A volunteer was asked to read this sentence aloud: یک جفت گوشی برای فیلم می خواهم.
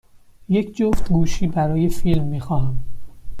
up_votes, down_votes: 2, 0